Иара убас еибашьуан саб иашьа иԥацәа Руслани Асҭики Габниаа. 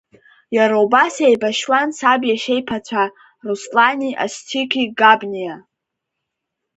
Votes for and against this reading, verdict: 0, 2, rejected